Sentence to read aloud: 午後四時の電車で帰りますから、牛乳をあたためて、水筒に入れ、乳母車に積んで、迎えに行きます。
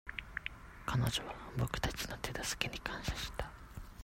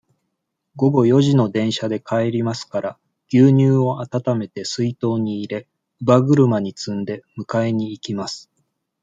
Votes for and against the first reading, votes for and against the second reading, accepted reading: 0, 2, 2, 0, second